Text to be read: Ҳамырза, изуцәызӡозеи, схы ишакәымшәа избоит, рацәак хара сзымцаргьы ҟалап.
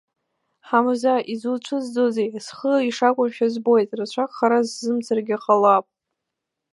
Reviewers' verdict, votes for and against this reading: rejected, 1, 2